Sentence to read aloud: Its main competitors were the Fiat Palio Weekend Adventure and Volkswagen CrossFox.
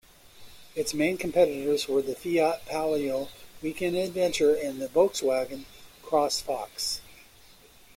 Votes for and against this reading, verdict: 1, 2, rejected